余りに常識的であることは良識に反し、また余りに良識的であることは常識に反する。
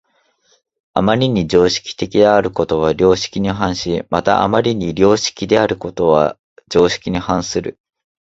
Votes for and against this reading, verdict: 0, 2, rejected